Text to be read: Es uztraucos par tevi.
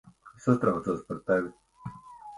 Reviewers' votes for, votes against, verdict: 0, 2, rejected